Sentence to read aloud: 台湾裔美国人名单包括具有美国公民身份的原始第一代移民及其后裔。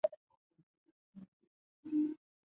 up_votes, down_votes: 2, 1